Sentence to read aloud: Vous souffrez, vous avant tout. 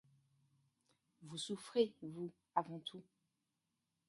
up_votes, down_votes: 2, 1